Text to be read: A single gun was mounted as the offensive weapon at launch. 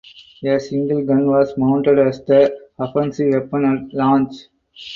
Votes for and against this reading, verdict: 4, 0, accepted